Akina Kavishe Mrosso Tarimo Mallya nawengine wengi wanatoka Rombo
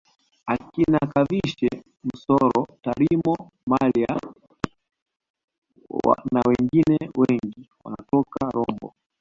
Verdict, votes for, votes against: rejected, 1, 2